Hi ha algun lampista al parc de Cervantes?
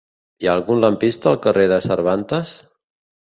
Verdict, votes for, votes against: rejected, 1, 2